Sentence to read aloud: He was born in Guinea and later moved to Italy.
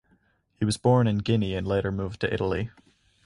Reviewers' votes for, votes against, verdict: 4, 0, accepted